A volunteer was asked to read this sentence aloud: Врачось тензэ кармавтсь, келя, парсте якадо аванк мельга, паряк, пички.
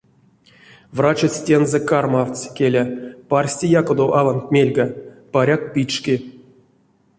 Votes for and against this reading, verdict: 0, 2, rejected